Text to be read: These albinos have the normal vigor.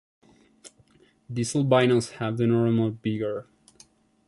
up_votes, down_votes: 0, 2